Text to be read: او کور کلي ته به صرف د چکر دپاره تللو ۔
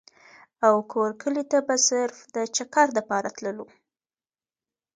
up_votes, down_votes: 2, 0